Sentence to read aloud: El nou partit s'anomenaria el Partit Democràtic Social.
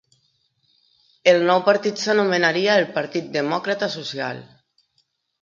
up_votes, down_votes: 0, 2